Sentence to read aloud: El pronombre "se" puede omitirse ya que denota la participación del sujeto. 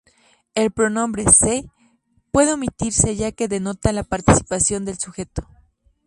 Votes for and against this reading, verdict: 2, 0, accepted